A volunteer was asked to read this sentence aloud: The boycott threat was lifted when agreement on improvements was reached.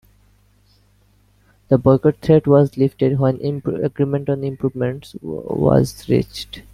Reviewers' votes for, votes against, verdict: 1, 2, rejected